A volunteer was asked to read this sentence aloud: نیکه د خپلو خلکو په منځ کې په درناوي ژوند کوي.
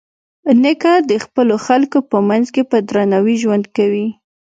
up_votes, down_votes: 2, 0